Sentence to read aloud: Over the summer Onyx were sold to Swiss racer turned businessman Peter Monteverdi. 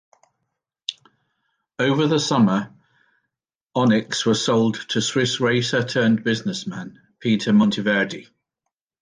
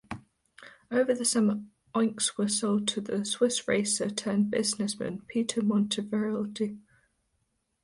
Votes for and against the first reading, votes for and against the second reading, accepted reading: 2, 0, 0, 2, first